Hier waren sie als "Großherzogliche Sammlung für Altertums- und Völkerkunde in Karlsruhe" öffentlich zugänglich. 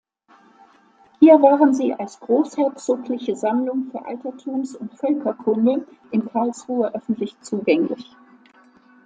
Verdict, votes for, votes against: accepted, 2, 0